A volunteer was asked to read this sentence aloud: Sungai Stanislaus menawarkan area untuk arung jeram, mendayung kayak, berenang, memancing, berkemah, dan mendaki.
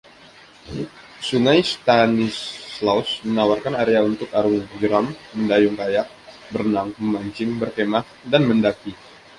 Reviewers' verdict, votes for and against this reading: accepted, 2, 0